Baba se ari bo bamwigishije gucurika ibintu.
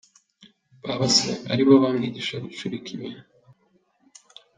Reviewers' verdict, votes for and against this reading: accepted, 2, 0